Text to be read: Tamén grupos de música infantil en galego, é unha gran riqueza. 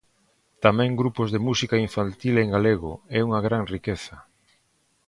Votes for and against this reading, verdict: 2, 0, accepted